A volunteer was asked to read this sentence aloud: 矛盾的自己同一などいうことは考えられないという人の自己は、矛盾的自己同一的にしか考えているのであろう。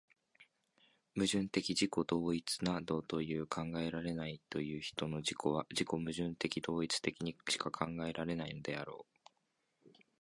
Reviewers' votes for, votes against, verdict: 1, 2, rejected